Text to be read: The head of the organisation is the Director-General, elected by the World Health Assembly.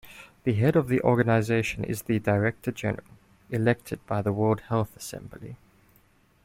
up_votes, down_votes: 2, 0